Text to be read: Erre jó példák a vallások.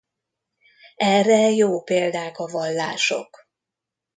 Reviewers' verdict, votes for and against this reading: accepted, 2, 0